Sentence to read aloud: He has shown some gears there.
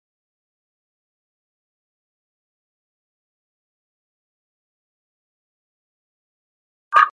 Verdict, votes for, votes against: rejected, 0, 2